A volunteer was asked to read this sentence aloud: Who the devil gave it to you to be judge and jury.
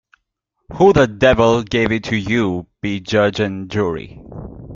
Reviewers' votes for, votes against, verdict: 0, 2, rejected